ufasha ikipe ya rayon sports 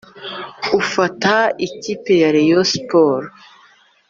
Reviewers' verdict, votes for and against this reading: rejected, 0, 2